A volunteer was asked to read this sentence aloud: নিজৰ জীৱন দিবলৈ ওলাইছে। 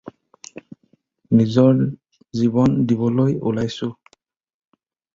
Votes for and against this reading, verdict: 0, 4, rejected